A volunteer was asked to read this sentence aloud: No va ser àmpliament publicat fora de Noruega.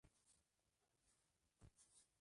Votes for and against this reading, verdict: 0, 2, rejected